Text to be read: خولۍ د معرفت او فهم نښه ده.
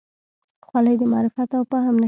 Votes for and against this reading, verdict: 1, 2, rejected